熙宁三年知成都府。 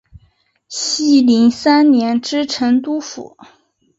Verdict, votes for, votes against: accepted, 3, 0